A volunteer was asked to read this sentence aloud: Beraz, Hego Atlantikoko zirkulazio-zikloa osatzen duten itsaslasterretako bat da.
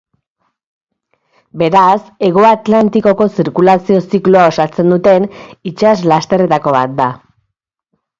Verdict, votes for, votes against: accepted, 3, 0